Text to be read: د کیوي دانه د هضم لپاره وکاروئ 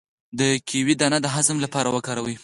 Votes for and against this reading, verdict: 4, 0, accepted